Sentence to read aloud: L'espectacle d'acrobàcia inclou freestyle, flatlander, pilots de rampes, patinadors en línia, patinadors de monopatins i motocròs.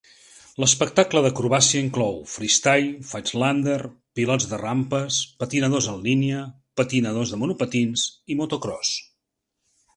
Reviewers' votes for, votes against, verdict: 2, 0, accepted